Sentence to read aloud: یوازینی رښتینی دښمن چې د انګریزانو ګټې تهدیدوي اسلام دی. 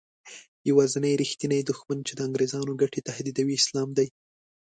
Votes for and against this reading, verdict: 2, 0, accepted